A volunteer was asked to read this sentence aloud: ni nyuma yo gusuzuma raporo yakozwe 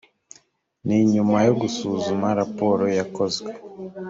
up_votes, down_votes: 2, 0